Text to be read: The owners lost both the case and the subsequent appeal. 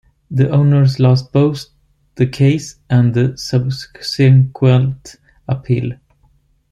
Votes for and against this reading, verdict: 1, 2, rejected